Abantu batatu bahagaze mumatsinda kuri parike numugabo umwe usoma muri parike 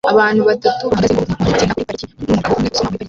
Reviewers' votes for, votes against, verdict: 0, 2, rejected